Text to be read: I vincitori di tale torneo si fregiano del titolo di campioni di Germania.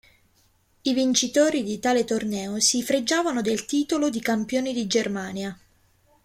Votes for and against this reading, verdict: 0, 2, rejected